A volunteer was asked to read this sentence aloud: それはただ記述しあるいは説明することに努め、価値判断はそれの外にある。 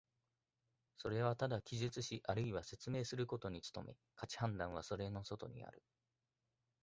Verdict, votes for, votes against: accepted, 2, 0